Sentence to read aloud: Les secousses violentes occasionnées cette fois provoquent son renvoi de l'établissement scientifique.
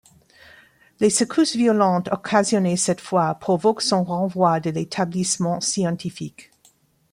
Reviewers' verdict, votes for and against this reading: rejected, 2, 3